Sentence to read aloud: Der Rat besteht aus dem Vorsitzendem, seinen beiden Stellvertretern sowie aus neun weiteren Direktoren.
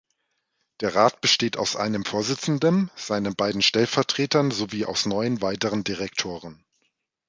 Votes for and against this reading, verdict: 0, 2, rejected